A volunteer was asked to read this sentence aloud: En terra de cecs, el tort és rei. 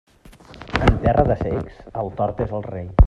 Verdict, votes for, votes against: rejected, 1, 2